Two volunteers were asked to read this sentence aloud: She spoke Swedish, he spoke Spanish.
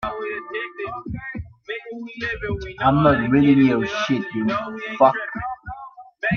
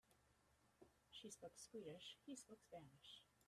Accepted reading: second